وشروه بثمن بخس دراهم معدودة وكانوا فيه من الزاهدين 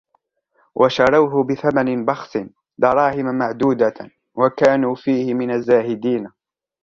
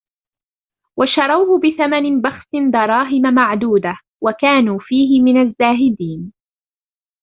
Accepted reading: second